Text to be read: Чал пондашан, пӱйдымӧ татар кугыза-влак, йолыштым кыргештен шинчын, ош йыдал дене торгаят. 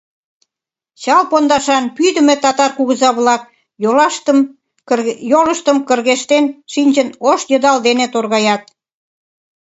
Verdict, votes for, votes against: rejected, 0, 2